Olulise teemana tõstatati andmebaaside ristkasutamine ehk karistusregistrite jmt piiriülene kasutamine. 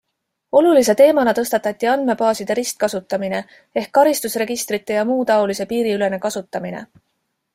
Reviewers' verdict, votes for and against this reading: accepted, 2, 0